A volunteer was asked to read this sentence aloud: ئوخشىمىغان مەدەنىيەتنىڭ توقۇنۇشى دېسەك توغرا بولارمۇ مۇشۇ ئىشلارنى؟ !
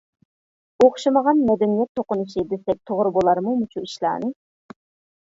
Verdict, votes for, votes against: rejected, 0, 2